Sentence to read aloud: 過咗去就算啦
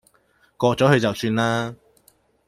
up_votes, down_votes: 2, 0